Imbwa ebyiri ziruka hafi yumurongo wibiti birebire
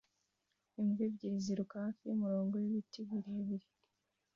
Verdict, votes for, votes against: accepted, 2, 1